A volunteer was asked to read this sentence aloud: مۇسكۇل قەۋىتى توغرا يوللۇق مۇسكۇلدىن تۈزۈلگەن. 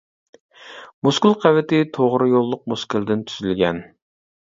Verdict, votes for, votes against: accepted, 2, 0